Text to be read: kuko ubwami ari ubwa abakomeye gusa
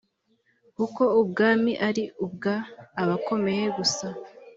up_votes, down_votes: 2, 0